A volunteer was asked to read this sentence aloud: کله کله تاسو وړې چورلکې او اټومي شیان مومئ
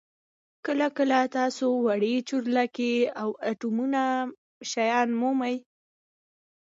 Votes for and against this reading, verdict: 2, 1, accepted